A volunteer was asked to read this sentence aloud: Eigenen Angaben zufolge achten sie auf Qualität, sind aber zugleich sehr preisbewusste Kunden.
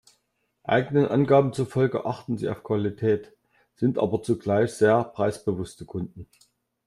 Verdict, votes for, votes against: accepted, 2, 0